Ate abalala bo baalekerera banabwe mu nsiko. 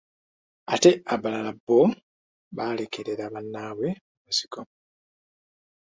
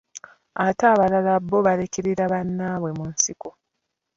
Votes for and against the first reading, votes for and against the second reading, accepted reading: 2, 0, 0, 2, first